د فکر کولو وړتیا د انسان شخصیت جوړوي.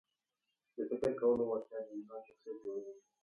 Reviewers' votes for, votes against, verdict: 1, 2, rejected